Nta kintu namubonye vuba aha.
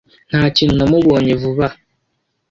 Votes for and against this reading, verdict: 2, 0, accepted